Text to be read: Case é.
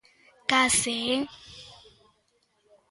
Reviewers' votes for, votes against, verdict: 2, 0, accepted